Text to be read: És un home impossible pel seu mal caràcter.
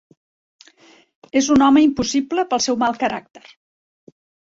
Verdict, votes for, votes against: accepted, 3, 0